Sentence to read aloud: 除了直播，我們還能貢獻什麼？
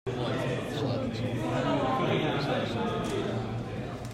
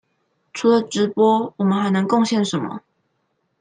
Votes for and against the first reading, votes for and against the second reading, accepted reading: 0, 2, 2, 0, second